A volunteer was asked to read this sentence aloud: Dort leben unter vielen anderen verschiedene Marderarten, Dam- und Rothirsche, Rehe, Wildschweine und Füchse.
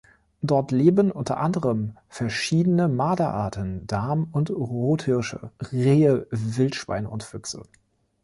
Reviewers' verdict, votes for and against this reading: rejected, 1, 2